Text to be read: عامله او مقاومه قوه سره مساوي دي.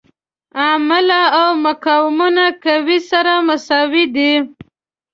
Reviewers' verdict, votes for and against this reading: rejected, 0, 2